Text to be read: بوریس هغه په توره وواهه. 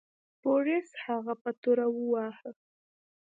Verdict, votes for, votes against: rejected, 1, 2